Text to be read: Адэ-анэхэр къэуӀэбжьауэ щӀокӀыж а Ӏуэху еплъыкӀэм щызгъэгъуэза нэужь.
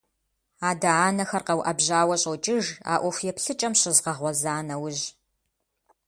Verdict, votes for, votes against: accepted, 3, 0